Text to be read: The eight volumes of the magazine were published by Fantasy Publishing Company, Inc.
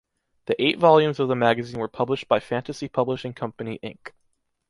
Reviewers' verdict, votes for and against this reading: accepted, 2, 0